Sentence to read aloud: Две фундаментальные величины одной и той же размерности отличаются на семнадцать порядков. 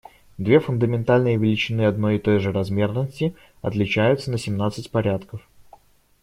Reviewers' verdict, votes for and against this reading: accepted, 2, 0